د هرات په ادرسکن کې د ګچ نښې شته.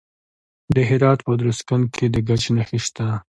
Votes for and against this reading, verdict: 2, 0, accepted